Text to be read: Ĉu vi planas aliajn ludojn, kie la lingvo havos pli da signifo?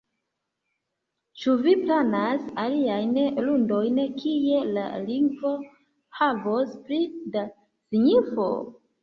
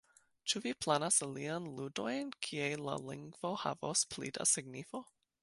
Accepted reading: second